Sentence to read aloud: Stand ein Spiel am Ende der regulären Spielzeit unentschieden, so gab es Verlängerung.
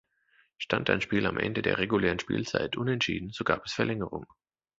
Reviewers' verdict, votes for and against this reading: accepted, 2, 0